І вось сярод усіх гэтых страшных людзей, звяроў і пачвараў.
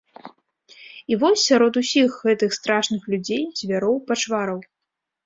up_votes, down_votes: 1, 2